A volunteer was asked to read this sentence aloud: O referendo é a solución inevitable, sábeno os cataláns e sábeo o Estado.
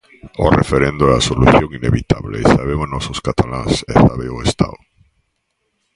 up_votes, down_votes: 0, 2